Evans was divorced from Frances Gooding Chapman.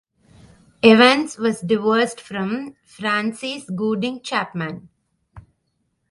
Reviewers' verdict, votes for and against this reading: accepted, 2, 0